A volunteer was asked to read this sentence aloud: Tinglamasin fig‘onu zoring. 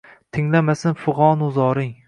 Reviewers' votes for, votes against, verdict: 2, 0, accepted